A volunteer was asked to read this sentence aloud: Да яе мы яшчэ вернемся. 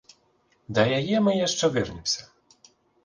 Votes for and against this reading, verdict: 2, 4, rejected